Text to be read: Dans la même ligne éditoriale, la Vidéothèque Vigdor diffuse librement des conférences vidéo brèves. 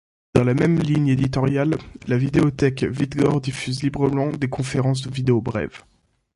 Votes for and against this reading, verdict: 2, 0, accepted